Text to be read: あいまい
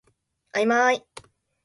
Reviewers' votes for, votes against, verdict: 2, 0, accepted